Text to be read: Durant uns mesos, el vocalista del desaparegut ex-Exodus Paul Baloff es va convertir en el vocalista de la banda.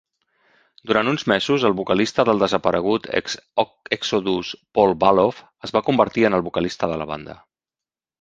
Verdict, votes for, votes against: rejected, 0, 2